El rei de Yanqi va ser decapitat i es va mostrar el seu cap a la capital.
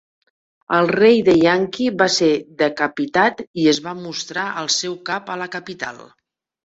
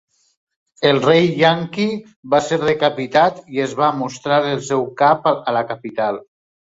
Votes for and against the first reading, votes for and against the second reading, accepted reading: 3, 0, 0, 2, first